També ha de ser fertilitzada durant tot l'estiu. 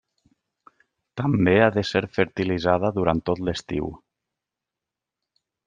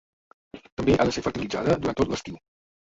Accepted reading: first